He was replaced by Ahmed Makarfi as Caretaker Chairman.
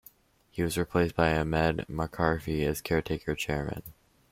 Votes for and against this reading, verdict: 1, 2, rejected